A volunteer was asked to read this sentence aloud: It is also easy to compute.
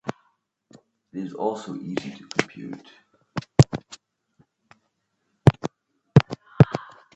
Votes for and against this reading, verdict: 3, 1, accepted